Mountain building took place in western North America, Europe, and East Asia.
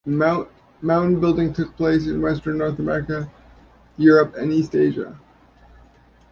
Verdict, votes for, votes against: rejected, 0, 2